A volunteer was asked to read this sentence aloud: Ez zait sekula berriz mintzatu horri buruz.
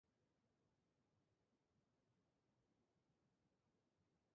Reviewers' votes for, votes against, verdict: 0, 2, rejected